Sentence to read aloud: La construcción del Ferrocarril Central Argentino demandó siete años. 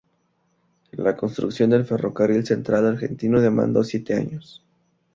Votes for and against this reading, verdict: 4, 0, accepted